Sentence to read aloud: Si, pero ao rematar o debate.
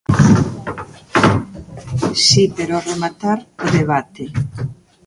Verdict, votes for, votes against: rejected, 1, 2